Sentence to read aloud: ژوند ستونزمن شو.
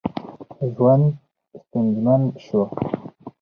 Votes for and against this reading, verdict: 4, 0, accepted